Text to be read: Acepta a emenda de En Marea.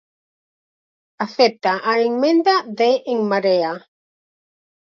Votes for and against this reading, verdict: 2, 4, rejected